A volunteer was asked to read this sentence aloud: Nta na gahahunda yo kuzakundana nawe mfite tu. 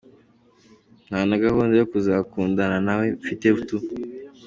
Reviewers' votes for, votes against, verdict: 2, 0, accepted